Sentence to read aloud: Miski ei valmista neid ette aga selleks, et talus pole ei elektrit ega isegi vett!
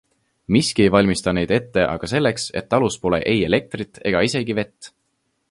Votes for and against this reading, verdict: 2, 0, accepted